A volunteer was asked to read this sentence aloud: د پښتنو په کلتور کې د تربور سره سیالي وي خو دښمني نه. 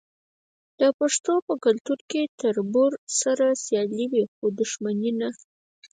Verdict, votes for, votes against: rejected, 0, 4